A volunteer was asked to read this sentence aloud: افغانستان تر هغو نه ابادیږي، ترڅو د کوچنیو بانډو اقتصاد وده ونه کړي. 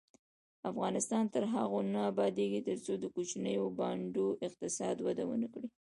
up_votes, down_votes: 1, 2